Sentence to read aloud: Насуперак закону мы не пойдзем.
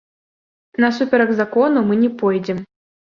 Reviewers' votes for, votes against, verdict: 1, 3, rejected